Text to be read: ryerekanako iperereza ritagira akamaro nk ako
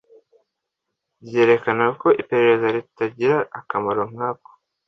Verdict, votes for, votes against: accepted, 2, 0